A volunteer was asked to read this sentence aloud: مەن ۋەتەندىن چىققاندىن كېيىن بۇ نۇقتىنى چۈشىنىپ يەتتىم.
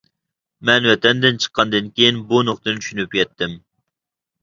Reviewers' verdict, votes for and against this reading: accepted, 2, 0